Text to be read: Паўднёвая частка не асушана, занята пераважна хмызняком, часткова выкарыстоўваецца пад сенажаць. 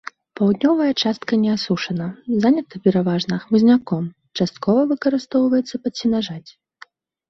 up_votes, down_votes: 2, 0